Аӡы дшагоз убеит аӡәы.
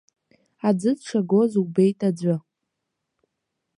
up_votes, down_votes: 1, 2